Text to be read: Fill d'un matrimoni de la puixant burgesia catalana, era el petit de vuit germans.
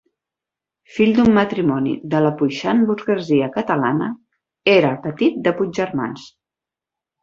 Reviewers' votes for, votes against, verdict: 2, 4, rejected